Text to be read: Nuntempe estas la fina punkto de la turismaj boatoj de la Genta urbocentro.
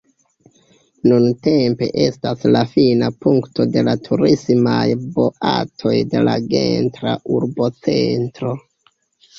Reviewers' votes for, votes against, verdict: 0, 2, rejected